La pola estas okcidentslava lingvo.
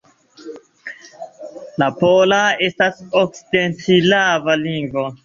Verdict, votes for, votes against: accepted, 2, 0